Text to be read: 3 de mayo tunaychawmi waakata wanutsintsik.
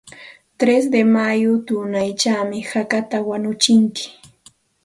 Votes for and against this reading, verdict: 0, 2, rejected